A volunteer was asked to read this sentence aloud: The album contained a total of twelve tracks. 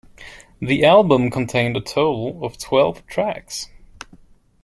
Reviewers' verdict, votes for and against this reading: accepted, 2, 1